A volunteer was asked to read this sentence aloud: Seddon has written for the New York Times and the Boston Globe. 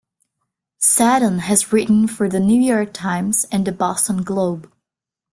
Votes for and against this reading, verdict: 2, 0, accepted